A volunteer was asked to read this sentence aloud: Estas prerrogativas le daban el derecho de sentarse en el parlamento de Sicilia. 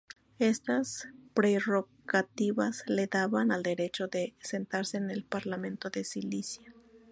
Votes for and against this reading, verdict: 2, 0, accepted